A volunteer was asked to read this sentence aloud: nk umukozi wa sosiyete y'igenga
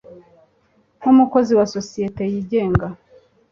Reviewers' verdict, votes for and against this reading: accepted, 2, 0